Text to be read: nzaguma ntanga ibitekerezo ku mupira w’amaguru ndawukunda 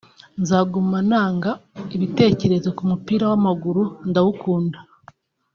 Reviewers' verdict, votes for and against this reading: accepted, 2, 0